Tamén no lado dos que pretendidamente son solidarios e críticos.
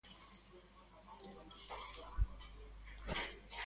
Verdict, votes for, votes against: rejected, 0, 2